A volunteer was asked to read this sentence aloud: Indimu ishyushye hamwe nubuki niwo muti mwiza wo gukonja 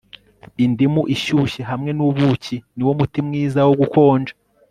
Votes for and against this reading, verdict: 3, 0, accepted